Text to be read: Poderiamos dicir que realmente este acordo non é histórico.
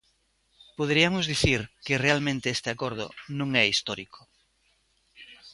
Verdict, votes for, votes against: rejected, 1, 2